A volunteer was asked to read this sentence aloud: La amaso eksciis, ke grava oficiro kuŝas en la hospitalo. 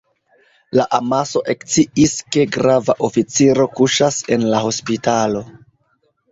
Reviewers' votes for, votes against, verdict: 1, 2, rejected